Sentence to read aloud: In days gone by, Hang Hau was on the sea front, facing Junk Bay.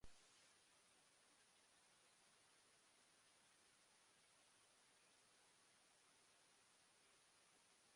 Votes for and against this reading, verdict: 0, 2, rejected